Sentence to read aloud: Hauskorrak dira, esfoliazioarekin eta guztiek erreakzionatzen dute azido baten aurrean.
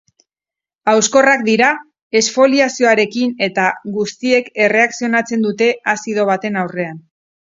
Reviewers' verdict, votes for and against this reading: accepted, 4, 2